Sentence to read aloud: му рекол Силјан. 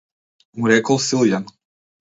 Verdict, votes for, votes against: rejected, 1, 2